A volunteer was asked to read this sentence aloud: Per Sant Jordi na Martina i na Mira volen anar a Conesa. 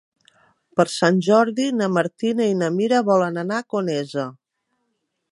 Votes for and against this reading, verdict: 3, 0, accepted